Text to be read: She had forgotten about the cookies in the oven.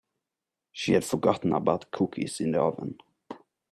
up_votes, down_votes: 1, 2